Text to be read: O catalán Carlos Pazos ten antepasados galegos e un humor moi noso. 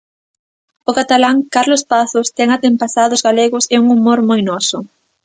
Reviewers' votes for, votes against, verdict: 0, 2, rejected